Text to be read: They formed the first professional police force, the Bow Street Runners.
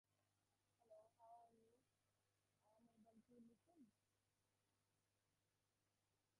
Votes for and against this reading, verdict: 0, 2, rejected